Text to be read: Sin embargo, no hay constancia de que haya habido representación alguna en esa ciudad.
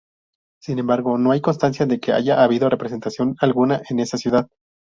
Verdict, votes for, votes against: rejected, 0, 2